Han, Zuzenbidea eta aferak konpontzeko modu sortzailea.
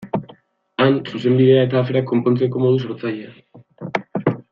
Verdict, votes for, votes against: rejected, 2, 3